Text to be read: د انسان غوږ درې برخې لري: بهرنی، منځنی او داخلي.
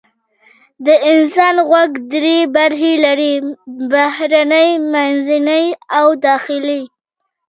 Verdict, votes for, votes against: accepted, 2, 0